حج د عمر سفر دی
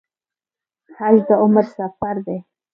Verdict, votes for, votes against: accepted, 2, 0